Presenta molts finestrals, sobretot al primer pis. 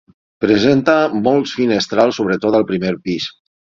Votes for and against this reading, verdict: 6, 0, accepted